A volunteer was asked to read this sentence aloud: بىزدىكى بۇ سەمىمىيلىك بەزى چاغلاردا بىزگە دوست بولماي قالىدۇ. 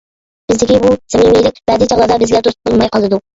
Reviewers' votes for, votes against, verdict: 0, 2, rejected